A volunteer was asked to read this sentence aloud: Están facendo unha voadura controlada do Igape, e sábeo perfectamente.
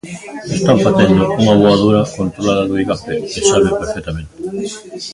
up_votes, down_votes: 1, 2